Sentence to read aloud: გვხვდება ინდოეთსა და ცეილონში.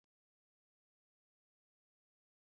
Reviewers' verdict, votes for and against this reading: rejected, 0, 2